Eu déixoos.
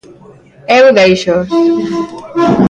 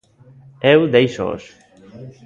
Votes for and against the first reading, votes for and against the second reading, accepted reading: 2, 0, 1, 2, first